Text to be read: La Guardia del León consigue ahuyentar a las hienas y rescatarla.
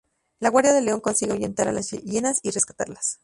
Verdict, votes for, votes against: rejected, 0, 2